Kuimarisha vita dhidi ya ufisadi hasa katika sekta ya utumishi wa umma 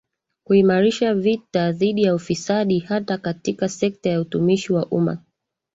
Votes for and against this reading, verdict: 1, 3, rejected